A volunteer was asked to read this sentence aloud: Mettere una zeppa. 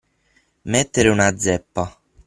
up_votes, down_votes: 6, 0